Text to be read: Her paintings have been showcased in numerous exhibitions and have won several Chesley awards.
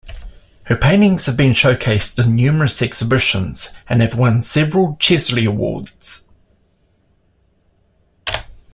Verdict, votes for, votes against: accepted, 2, 0